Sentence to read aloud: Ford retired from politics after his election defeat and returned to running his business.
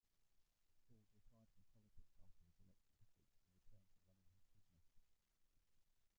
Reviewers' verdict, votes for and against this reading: rejected, 0, 2